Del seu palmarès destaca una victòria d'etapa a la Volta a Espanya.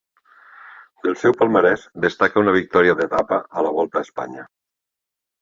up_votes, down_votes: 2, 0